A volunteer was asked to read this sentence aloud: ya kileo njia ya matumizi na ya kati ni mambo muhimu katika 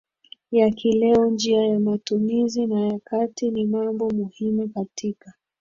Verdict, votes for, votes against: accepted, 2, 1